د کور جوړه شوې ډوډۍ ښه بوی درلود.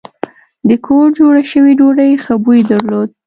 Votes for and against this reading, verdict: 2, 0, accepted